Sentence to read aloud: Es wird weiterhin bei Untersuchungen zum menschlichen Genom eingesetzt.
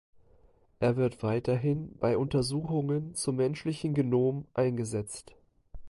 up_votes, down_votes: 0, 2